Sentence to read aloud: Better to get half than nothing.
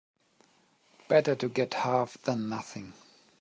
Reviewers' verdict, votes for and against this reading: accepted, 3, 0